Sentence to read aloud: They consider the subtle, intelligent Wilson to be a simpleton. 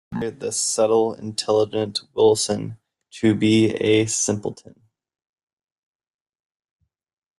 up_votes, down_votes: 1, 2